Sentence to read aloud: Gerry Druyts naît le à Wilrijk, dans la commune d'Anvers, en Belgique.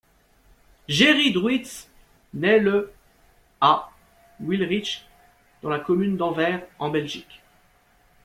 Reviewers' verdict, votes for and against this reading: rejected, 0, 2